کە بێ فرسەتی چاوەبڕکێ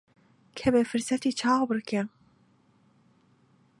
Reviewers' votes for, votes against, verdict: 4, 0, accepted